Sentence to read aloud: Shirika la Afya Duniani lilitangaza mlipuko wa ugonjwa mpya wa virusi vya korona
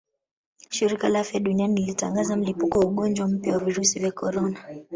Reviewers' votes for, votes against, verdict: 1, 2, rejected